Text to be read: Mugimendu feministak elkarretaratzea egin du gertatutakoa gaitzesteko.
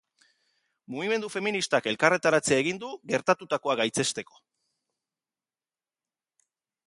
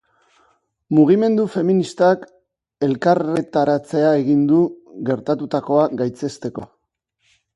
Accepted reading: first